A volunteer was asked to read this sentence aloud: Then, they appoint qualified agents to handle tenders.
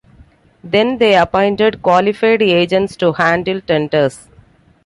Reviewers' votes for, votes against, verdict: 1, 2, rejected